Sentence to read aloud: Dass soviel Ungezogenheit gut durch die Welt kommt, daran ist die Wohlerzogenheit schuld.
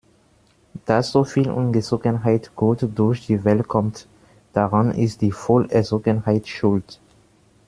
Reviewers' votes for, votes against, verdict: 2, 1, accepted